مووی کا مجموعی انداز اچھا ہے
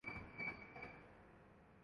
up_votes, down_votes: 0, 2